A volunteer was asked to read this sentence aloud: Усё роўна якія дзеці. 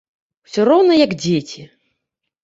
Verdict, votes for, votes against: rejected, 0, 2